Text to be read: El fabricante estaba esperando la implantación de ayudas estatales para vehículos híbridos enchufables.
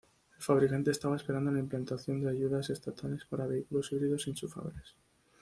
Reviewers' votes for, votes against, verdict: 2, 3, rejected